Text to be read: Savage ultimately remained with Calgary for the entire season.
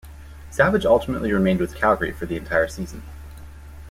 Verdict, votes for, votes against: accepted, 2, 0